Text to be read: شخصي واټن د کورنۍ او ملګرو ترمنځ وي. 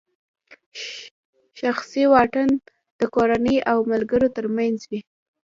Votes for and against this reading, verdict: 0, 2, rejected